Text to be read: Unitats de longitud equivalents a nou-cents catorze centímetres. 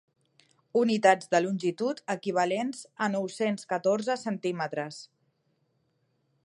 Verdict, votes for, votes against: accepted, 3, 0